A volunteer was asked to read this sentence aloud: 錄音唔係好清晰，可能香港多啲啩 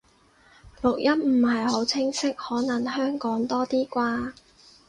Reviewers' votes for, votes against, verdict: 4, 0, accepted